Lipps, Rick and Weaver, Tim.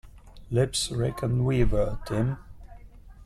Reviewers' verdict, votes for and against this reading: rejected, 0, 2